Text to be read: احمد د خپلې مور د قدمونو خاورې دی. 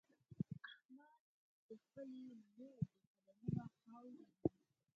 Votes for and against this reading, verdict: 4, 6, rejected